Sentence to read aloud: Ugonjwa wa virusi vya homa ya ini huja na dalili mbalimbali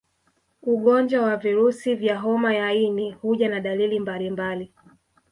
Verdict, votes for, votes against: rejected, 1, 2